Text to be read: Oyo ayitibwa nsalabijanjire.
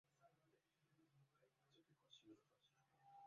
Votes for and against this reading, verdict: 0, 2, rejected